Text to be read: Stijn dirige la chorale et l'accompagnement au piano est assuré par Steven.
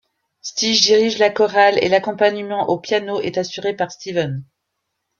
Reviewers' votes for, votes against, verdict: 0, 2, rejected